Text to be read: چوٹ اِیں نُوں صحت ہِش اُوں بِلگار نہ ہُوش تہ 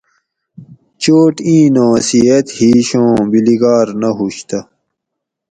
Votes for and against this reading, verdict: 4, 0, accepted